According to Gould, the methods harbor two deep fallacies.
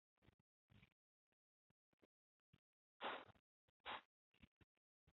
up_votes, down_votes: 0, 2